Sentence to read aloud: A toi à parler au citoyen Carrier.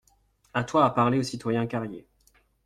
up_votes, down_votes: 2, 0